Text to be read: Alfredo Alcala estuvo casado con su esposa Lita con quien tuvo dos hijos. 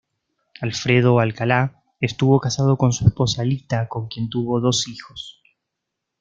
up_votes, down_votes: 0, 2